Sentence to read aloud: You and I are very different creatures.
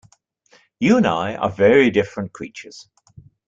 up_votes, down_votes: 2, 0